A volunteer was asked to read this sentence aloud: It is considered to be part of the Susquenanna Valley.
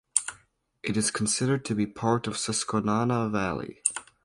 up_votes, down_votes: 2, 0